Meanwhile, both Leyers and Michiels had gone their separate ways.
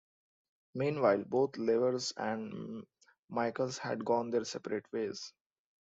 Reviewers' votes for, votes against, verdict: 1, 2, rejected